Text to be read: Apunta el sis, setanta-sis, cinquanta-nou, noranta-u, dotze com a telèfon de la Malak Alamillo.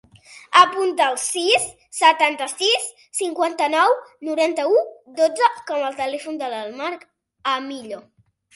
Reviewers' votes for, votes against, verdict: 1, 2, rejected